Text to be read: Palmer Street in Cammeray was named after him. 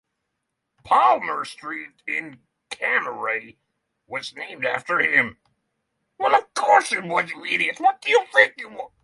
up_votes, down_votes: 0, 3